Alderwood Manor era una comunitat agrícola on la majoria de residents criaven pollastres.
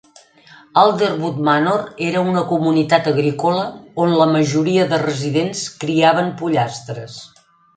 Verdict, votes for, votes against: accepted, 2, 0